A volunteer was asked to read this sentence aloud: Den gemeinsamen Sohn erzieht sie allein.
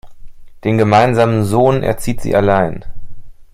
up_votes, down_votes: 2, 0